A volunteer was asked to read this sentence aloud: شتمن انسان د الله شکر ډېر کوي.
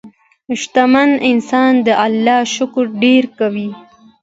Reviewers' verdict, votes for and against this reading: accepted, 2, 0